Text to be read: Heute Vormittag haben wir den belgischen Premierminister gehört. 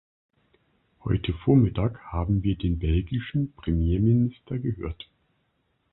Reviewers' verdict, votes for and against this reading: accepted, 2, 0